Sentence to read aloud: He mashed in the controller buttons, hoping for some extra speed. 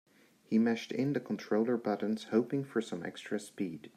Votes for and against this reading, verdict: 3, 0, accepted